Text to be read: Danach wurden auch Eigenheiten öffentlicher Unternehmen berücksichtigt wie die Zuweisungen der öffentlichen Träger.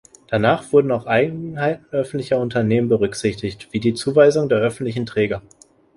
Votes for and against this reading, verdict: 1, 2, rejected